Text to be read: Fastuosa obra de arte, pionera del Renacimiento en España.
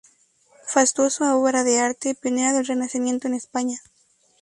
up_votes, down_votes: 2, 0